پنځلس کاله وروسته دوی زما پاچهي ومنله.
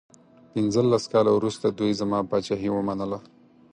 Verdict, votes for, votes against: accepted, 4, 0